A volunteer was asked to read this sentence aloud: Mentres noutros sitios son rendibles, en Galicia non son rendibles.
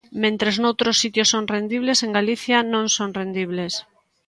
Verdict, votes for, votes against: accepted, 2, 0